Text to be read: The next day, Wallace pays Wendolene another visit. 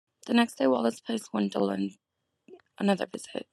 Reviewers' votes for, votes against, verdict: 2, 0, accepted